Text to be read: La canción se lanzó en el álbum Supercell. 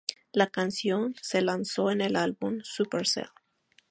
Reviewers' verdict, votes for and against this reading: accepted, 4, 0